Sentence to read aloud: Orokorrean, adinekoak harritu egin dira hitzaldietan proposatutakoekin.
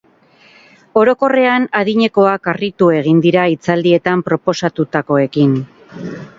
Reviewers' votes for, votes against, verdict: 2, 0, accepted